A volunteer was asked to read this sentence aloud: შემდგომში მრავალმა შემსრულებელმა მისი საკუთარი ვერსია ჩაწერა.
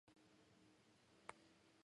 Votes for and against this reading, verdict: 1, 2, rejected